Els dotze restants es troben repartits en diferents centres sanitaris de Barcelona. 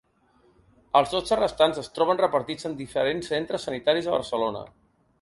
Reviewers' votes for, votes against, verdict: 2, 0, accepted